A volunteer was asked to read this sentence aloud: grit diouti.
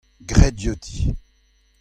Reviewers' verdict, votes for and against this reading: accepted, 2, 0